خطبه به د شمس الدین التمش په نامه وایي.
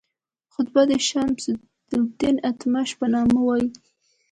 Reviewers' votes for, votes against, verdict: 2, 0, accepted